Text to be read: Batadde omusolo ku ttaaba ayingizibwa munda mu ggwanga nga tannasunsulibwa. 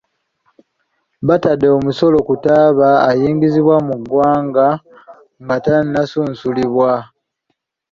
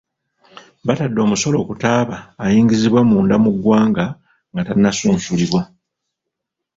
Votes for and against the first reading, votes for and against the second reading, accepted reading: 1, 2, 3, 1, second